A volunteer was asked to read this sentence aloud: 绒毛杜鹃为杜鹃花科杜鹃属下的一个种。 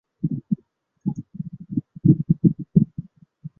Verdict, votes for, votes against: rejected, 0, 2